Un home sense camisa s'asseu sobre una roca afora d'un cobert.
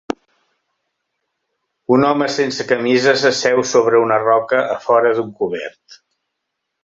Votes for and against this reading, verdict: 2, 0, accepted